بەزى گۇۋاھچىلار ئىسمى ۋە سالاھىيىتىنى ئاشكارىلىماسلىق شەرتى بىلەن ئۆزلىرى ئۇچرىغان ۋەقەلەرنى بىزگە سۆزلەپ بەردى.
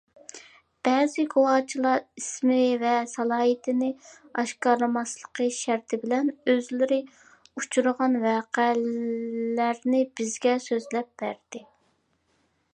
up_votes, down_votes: 0, 2